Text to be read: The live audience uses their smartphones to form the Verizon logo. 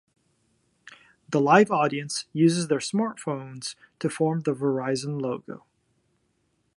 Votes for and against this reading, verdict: 2, 0, accepted